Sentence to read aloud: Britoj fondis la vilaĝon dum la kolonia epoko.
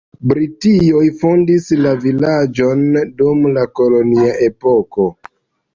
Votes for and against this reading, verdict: 0, 2, rejected